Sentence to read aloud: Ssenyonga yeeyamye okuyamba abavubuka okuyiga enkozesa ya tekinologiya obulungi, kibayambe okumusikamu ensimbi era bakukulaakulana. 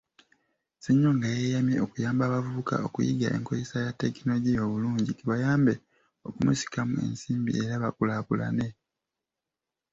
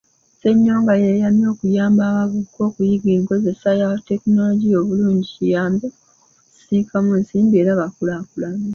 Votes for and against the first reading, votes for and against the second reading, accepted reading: 3, 1, 0, 2, first